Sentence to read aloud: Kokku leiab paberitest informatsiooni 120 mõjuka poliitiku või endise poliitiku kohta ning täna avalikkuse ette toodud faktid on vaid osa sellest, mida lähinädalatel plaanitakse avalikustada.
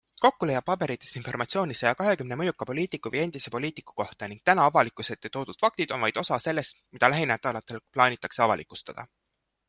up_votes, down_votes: 0, 2